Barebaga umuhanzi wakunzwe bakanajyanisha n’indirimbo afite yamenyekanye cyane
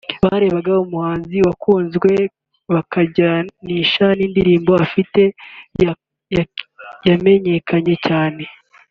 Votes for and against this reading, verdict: 0, 2, rejected